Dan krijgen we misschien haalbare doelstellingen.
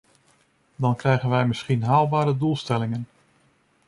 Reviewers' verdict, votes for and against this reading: rejected, 1, 2